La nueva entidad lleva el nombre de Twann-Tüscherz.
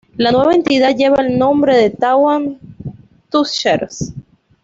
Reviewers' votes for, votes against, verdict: 0, 2, rejected